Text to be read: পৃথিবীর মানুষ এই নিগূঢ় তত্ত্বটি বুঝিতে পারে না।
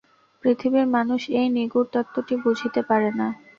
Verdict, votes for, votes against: accepted, 2, 0